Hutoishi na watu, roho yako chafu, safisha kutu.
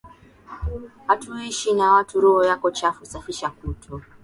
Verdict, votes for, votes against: accepted, 2, 0